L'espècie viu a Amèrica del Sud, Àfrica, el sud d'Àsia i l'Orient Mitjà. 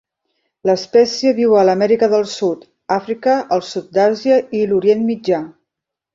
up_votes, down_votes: 1, 2